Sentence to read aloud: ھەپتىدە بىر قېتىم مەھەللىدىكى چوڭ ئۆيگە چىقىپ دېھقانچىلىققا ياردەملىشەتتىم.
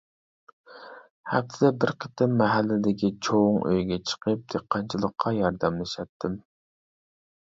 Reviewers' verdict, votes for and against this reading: accepted, 2, 0